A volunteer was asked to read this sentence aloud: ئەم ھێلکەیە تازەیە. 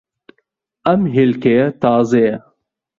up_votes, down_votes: 2, 0